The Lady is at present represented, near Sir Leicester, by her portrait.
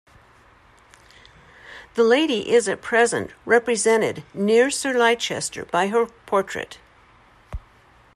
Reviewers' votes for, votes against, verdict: 1, 2, rejected